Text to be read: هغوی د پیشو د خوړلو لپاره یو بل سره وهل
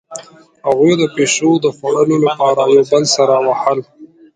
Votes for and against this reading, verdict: 0, 2, rejected